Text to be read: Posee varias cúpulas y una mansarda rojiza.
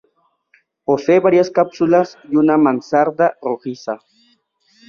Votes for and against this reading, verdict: 1, 2, rejected